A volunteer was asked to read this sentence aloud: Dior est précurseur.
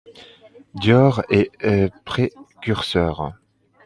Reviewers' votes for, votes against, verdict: 2, 0, accepted